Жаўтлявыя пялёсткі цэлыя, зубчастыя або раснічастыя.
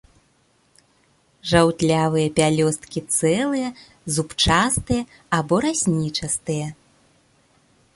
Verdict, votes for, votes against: accepted, 2, 0